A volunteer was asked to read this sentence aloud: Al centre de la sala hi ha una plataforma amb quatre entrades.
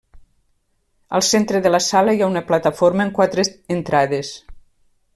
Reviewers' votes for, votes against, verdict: 0, 2, rejected